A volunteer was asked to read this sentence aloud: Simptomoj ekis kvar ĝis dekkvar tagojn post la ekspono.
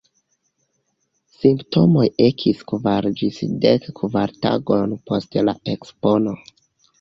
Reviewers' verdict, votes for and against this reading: rejected, 1, 2